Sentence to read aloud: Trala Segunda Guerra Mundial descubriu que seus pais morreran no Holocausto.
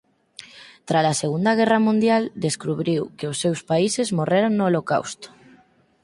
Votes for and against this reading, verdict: 0, 4, rejected